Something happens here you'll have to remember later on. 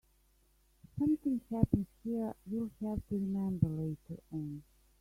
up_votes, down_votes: 1, 3